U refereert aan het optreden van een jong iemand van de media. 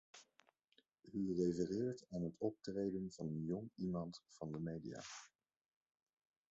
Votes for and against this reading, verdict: 1, 2, rejected